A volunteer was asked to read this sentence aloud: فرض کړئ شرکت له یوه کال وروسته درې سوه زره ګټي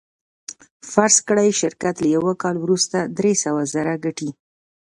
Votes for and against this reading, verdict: 2, 0, accepted